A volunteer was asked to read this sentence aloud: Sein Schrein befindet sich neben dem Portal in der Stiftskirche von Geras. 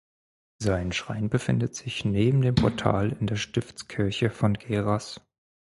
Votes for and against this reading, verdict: 4, 0, accepted